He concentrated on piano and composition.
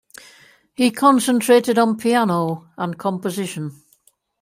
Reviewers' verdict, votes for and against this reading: accepted, 2, 0